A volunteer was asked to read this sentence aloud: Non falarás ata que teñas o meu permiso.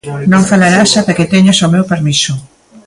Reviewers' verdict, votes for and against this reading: accepted, 2, 0